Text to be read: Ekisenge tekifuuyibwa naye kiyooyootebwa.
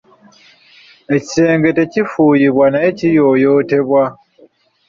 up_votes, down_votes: 4, 0